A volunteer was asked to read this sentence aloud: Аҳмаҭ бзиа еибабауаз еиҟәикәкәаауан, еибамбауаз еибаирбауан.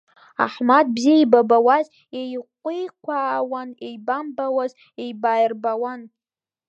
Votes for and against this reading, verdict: 1, 2, rejected